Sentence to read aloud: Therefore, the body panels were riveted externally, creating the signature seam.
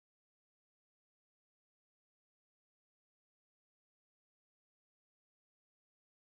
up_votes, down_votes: 0, 2